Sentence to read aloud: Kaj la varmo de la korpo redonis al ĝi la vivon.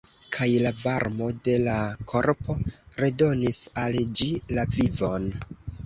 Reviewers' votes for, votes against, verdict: 2, 0, accepted